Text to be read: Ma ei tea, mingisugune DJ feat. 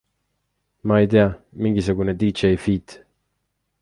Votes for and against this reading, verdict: 2, 0, accepted